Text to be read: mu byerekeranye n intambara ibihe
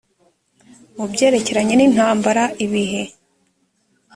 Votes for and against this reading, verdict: 4, 0, accepted